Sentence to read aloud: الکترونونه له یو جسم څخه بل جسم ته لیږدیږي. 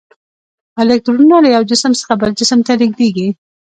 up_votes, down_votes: 2, 0